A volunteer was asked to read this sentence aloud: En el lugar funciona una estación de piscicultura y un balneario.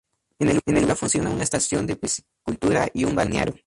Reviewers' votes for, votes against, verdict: 2, 0, accepted